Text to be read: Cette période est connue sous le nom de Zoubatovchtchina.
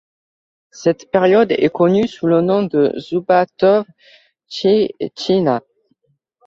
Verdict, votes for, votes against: rejected, 1, 2